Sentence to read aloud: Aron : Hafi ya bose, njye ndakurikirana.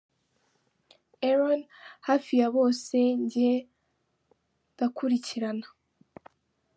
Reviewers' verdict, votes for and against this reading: accepted, 2, 0